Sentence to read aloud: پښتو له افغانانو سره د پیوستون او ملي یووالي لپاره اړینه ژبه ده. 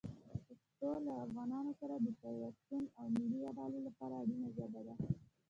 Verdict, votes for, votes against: accepted, 2, 1